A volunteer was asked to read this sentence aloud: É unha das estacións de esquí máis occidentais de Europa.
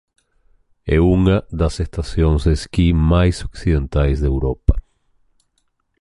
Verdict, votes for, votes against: rejected, 0, 2